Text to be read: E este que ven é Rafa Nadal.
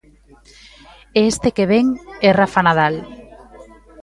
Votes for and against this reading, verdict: 1, 2, rejected